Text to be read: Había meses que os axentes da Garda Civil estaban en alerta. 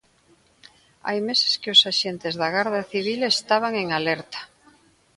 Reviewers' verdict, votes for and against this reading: rejected, 1, 2